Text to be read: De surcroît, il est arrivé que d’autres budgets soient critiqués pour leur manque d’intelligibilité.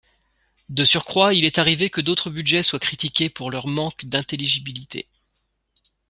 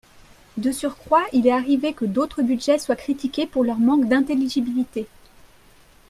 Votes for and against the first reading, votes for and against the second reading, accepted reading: 2, 0, 1, 2, first